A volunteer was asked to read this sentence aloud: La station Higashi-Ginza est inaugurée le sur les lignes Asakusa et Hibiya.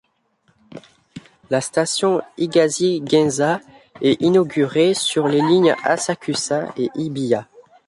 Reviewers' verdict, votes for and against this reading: rejected, 0, 2